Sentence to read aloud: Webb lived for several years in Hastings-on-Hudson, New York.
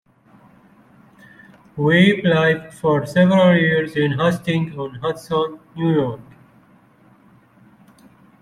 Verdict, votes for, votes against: rejected, 1, 2